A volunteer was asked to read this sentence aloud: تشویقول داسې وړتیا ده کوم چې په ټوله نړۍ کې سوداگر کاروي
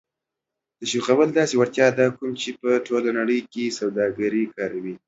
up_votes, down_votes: 0, 2